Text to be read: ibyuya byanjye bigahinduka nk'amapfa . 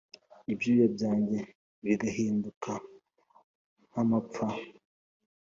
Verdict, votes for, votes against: accepted, 3, 0